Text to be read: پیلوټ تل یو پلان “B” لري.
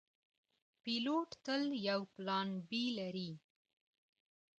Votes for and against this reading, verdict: 2, 0, accepted